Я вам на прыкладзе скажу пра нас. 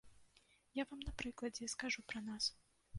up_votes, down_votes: 2, 0